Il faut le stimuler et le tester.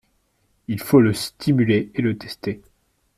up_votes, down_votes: 2, 0